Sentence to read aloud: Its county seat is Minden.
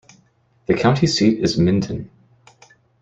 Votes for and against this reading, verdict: 0, 2, rejected